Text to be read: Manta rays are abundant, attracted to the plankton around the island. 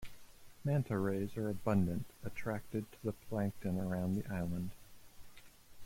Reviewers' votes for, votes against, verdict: 2, 0, accepted